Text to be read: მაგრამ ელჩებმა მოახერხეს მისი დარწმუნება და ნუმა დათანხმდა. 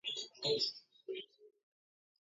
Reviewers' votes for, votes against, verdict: 0, 2, rejected